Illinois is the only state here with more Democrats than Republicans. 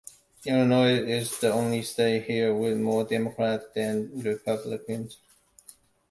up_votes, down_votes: 2, 0